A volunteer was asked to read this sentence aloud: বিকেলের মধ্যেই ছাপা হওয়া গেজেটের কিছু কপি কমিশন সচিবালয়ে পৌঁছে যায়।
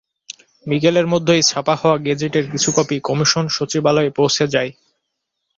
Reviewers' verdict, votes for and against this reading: accepted, 2, 0